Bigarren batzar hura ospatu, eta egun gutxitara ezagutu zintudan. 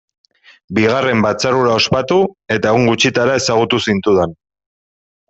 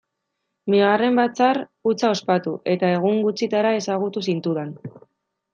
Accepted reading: first